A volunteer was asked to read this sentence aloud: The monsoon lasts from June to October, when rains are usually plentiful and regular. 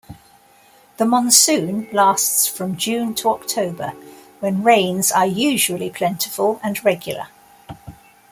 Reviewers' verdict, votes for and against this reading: accepted, 2, 0